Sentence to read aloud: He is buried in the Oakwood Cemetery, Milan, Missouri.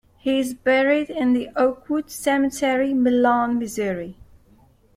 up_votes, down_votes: 2, 0